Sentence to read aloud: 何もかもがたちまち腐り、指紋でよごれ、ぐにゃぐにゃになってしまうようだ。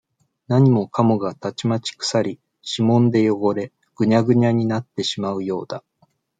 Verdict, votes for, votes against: accepted, 2, 0